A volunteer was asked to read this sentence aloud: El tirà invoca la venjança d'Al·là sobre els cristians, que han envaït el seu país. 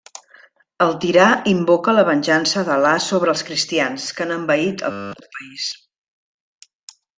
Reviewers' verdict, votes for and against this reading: rejected, 0, 2